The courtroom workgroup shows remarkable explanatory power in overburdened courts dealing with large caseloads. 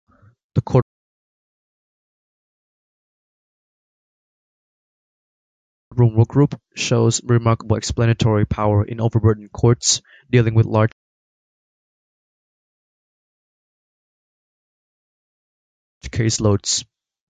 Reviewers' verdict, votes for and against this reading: rejected, 0, 2